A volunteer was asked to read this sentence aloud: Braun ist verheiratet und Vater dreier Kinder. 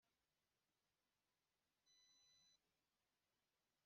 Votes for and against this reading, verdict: 0, 2, rejected